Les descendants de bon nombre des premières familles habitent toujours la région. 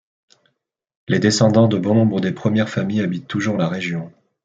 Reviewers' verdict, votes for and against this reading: accepted, 2, 0